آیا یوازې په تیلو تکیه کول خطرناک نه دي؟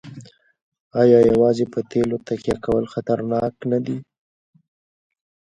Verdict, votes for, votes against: rejected, 1, 2